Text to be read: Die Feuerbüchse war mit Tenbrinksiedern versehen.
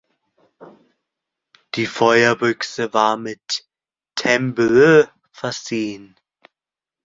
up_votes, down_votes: 0, 2